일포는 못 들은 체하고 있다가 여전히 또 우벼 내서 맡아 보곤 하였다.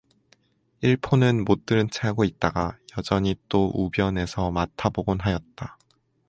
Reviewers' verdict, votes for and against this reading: accepted, 4, 0